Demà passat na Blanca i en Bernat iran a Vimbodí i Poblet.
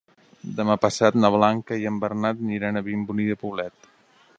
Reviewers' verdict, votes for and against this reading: rejected, 0, 2